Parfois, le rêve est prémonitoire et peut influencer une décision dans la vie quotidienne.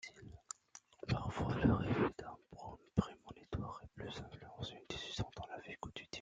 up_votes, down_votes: 1, 2